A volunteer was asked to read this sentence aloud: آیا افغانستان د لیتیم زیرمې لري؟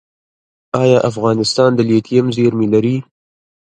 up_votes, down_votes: 0, 2